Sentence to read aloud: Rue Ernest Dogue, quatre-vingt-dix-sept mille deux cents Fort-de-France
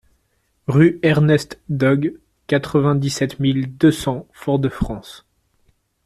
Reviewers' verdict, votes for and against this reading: accepted, 2, 0